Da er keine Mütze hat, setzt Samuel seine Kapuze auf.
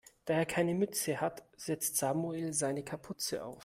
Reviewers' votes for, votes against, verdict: 2, 0, accepted